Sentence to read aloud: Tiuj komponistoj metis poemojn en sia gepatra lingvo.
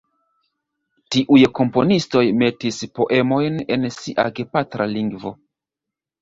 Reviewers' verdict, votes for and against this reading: accepted, 2, 1